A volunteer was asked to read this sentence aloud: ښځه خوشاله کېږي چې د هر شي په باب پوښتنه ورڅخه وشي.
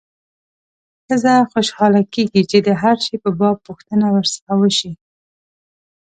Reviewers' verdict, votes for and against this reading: accepted, 2, 0